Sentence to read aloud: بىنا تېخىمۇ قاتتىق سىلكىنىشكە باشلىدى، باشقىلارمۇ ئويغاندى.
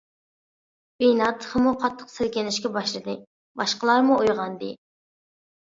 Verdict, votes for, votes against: accepted, 2, 0